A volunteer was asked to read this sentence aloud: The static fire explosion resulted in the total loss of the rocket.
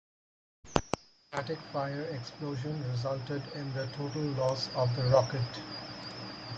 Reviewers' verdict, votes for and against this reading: rejected, 2, 4